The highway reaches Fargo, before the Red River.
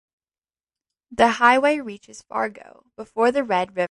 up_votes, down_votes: 0, 2